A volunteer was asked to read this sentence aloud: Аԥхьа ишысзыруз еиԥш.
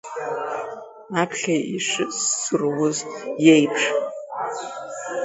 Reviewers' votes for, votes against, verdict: 0, 2, rejected